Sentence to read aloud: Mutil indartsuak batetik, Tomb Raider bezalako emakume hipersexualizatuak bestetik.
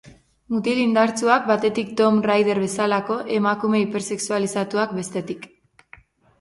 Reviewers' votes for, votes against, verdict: 3, 0, accepted